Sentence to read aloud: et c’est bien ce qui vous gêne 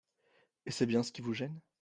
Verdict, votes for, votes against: accepted, 2, 0